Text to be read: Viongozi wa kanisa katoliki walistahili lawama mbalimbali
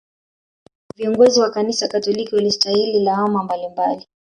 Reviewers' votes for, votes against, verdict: 1, 2, rejected